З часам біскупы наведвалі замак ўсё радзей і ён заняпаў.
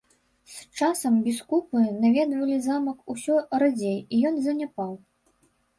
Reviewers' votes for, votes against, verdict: 1, 2, rejected